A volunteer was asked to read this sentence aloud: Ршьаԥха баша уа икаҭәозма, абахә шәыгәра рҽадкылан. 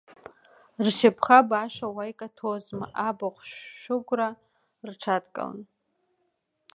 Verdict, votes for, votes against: rejected, 1, 2